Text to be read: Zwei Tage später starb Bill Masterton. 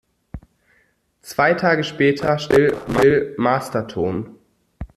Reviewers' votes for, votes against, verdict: 0, 2, rejected